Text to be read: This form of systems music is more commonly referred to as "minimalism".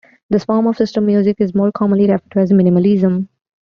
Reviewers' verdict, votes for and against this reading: rejected, 0, 2